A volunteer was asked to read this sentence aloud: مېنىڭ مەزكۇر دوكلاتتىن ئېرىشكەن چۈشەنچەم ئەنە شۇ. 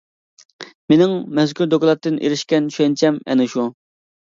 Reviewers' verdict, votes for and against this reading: accepted, 2, 0